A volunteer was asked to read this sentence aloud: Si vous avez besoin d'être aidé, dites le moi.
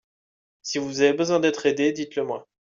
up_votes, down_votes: 2, 0